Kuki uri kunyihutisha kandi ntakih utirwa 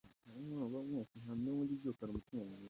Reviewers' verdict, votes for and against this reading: rejected, 0, 2